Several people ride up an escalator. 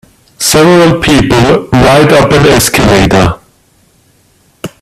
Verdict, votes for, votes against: accepted, 2, 1